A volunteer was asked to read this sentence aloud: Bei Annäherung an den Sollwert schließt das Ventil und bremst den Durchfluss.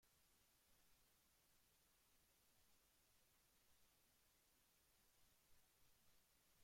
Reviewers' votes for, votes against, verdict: 0, 2, rejected